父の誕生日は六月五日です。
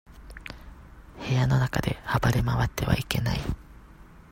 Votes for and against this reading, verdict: 0, 2, rejected